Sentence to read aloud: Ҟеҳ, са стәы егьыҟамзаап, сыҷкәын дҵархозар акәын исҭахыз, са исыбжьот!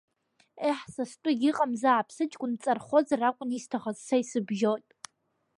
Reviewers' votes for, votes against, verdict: 2, 0, accepted